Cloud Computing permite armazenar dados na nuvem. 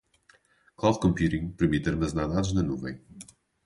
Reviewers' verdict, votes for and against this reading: accepted, 2, 0